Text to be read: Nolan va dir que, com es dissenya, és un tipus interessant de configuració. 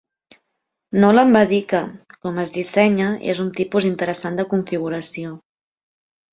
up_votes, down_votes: 2, 0